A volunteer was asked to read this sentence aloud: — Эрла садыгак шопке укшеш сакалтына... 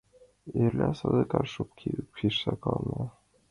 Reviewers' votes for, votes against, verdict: 0, 2, rejected